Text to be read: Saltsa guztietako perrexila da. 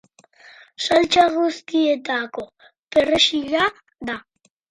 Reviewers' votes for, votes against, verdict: 4, 0, accepted